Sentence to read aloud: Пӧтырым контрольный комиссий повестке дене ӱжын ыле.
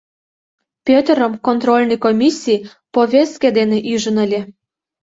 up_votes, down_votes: 2, 0